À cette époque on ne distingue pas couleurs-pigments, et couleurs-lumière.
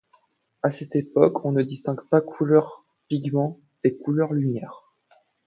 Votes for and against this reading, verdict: 2, 0, accepted